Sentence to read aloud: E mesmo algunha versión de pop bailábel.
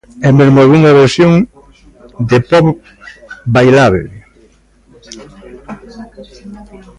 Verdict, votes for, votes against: rejected, 0, 2